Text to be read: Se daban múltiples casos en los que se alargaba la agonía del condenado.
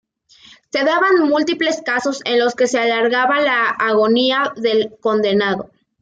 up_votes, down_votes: 2, 0